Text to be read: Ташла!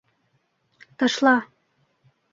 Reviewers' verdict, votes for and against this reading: accepted, 2, 0